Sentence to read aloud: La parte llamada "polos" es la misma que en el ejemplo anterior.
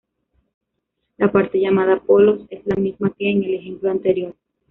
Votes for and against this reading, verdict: 2, 0, accepted